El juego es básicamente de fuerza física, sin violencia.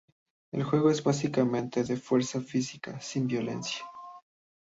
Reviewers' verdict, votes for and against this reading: accepted, 2, 0